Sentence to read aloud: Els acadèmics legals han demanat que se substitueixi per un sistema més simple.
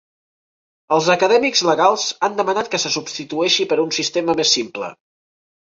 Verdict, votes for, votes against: accepted, 3, 0